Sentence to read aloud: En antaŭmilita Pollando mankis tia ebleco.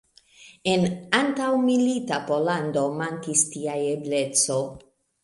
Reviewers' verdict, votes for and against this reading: accepted, 2, 1